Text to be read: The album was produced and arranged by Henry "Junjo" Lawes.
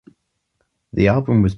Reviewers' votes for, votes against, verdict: 0, 2, rejected